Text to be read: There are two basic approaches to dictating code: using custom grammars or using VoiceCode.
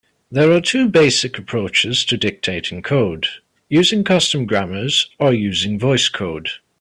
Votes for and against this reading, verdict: 2, 0, accepted